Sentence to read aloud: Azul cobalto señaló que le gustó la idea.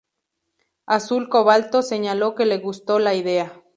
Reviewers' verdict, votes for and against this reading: rejected, 0, 2